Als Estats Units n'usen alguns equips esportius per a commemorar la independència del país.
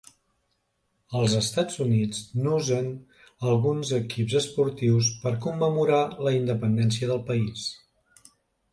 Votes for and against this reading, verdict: 1, 2, rejected